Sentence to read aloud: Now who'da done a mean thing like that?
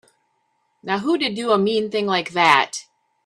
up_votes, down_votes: 0, 2